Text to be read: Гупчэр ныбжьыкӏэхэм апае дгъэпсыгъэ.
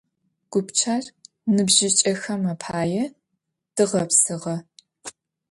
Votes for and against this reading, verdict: 2, 0, accepted